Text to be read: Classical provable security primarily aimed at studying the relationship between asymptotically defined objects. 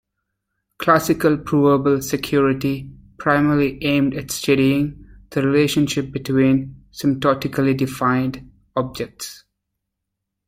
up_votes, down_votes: 1, 2